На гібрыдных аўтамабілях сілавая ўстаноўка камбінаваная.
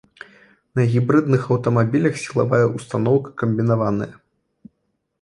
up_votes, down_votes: 2, 0